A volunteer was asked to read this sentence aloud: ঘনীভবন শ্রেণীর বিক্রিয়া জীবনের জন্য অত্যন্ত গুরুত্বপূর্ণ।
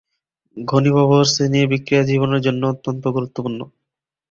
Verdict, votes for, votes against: rejected, 1, 2